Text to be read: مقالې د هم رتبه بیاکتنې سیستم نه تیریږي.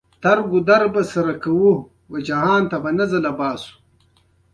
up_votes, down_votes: 1, 2